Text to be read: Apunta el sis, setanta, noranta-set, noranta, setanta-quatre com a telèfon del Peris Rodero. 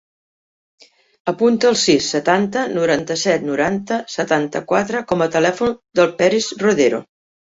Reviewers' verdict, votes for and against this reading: accepted, 3, 0